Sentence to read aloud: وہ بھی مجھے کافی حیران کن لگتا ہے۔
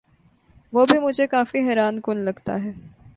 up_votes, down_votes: 2, 0